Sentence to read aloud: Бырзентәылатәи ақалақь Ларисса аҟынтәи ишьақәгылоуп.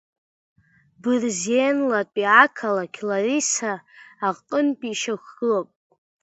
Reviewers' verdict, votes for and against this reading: rejected, 1, 2